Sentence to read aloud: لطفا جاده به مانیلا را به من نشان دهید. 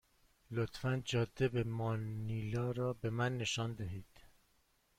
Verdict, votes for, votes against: rejected, 1, 2